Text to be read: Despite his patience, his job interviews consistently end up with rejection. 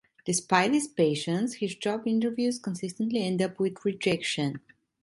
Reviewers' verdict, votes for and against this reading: accepted, 2, 0